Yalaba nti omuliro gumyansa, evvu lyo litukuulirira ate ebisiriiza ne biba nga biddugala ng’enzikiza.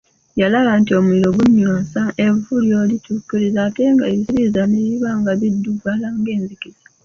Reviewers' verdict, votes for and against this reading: rejected, 1, 2